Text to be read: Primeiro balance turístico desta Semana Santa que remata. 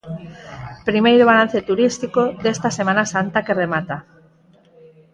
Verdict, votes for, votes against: accepted, 4, 0